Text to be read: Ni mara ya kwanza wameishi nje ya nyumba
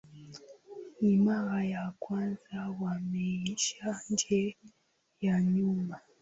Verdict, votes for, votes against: accepted, 3, 1